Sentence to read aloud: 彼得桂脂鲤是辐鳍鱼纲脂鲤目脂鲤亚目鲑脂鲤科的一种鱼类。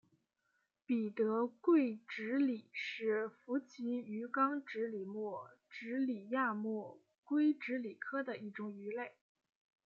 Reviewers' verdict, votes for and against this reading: accepted, 2, 0